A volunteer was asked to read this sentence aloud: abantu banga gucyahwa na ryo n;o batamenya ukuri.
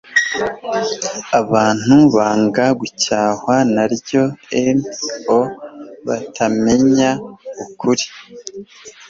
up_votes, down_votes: 2, 0